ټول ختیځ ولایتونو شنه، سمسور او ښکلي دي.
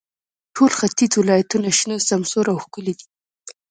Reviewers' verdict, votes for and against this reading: accepted, 2, 1